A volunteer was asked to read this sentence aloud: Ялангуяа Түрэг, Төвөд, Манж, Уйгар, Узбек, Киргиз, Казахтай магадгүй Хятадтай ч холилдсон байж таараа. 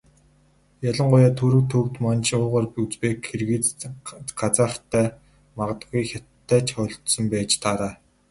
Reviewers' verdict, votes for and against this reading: rejected, 0, 2